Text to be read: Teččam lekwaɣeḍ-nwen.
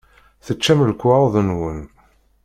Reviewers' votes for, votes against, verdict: 2, 0, accepted